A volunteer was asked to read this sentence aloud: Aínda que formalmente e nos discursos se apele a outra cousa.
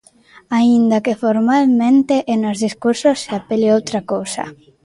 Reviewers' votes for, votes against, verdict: 2, 0, accepted